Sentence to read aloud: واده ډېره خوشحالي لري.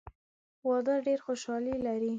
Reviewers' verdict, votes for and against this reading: accepted, 2, 0